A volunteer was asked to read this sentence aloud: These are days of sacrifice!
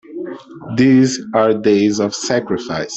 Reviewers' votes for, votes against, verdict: 2, 0, accepted